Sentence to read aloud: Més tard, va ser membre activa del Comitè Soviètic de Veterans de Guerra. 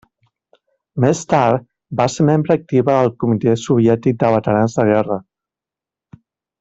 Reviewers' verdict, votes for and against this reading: rejected, 1, 2